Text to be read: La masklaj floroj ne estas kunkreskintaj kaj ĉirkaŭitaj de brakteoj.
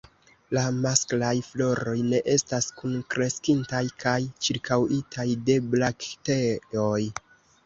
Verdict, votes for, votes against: rejected, 0, 2